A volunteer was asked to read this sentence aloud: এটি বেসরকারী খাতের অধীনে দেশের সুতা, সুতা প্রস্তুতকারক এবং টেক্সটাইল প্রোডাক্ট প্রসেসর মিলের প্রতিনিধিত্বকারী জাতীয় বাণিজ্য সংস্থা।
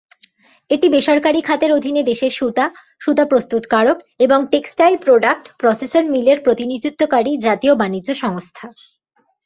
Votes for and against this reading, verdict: 2, 0, accepted